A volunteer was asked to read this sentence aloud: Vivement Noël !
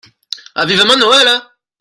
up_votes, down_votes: 0, 2